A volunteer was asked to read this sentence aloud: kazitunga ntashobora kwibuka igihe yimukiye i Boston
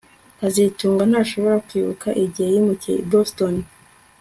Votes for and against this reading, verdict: 2, 0, accepted